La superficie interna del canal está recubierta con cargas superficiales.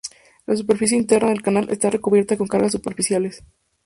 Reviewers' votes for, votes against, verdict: 2, 2, rejected